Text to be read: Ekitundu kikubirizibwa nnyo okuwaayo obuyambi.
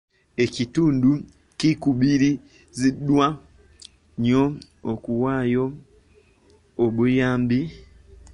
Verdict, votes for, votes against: rejected, 0, 2